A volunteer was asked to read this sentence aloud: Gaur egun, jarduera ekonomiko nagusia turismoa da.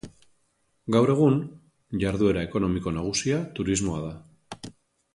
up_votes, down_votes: 2, 0